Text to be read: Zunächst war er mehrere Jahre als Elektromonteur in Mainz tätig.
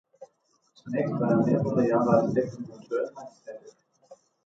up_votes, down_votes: 0, 2